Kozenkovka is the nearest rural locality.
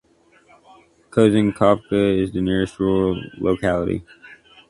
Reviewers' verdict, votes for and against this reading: accepted, 2, 1